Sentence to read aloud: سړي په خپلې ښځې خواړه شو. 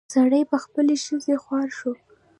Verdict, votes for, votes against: accepted, 2, 0